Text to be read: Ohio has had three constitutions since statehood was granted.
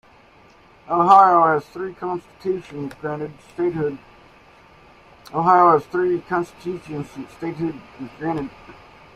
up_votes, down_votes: 1, 2